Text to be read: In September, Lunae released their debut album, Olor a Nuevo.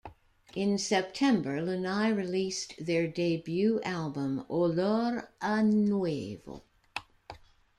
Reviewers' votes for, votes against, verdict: 2, 1, accepted